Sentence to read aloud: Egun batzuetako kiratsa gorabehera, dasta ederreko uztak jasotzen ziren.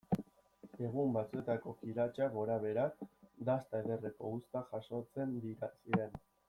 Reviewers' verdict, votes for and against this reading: accepted, 2, 1